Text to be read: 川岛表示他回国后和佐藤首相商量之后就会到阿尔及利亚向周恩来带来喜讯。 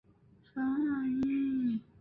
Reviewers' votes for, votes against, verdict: 1, 3, rejected